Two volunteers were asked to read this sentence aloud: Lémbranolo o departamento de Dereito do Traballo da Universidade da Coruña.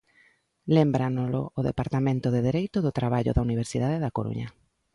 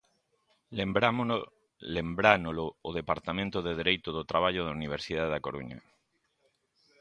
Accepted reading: first